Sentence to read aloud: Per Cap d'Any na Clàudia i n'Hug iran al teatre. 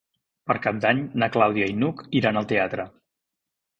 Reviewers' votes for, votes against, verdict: 2, 0, accepted